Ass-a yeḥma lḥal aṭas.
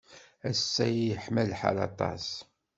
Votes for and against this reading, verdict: 2, 0, accepted